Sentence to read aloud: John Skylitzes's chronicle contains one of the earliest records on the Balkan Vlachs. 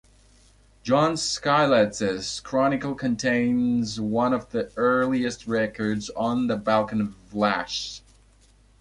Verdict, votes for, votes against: rejected, 1, 2